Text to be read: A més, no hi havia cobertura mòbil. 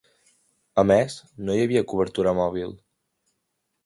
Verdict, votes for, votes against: accepted, 2, 0